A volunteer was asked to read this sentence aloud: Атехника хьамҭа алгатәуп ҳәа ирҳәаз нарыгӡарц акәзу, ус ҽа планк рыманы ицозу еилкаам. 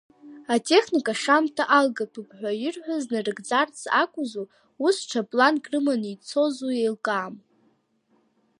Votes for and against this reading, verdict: 0, 2, rejected